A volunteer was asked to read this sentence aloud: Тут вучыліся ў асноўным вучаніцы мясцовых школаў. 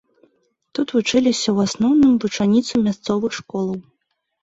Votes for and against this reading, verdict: 2, 0, accepted